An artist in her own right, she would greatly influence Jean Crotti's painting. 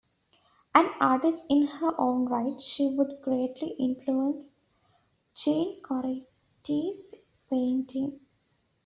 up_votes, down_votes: 2, 0